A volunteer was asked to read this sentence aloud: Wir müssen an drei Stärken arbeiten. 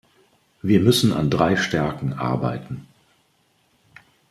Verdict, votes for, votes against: accepted, 2, 0